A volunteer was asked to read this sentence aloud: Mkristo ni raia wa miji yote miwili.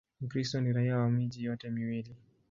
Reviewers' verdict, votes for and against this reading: rejected, 2, 2